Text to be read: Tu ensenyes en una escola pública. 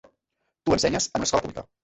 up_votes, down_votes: 0, 2